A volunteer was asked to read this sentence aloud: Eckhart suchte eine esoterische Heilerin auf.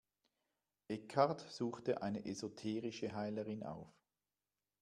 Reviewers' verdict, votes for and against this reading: accepted, 2, 0